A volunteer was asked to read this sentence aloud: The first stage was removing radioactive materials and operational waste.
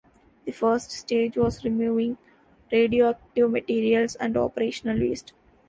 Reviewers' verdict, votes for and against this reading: accepted, 3, 0